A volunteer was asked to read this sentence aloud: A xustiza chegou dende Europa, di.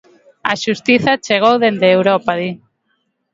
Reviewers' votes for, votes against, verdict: 2, 0, accepted